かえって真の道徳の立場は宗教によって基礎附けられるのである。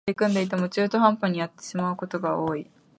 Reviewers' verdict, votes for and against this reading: rejected, 0, 2